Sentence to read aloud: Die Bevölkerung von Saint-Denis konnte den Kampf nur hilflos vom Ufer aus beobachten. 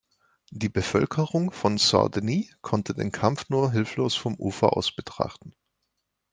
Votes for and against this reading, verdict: 1, 2, rejected